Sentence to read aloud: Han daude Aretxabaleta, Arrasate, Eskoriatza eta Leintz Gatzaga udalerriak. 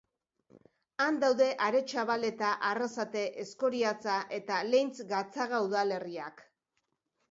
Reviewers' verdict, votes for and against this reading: accepted, 2, 0